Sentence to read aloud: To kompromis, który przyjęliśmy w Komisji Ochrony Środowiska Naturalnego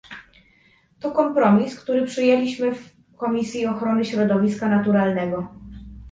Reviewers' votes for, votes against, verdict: 2, 0, accepted